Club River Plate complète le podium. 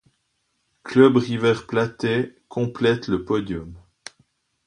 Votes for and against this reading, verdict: 2, 1, accepted